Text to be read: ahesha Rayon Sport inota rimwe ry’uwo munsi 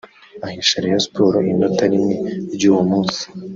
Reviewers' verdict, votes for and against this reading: rejected, 1, 2